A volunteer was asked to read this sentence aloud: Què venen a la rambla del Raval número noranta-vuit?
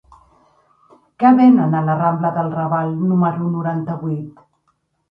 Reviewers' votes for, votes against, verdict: 0, 2, rejected